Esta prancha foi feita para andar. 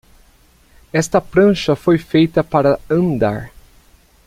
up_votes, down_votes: 2, 0